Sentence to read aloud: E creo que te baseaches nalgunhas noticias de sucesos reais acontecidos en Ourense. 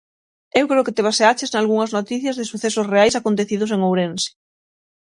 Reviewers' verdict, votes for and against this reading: rejected, 3, 6